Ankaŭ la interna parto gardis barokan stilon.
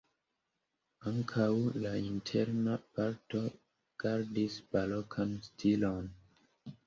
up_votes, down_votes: 2, 0